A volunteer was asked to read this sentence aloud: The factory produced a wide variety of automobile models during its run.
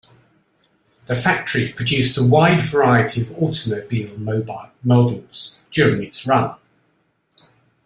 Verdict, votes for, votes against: rejected, 0, 2